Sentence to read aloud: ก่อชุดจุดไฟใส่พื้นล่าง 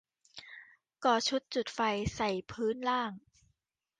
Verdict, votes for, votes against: accepted, 2, 0